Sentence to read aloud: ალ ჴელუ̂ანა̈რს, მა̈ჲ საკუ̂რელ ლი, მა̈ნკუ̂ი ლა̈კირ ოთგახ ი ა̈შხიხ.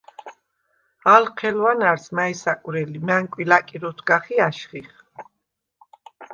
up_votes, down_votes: 2, 0